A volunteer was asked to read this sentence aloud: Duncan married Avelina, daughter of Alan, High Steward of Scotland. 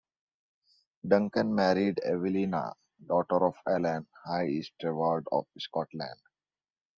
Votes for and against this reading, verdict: 2, 0, accepted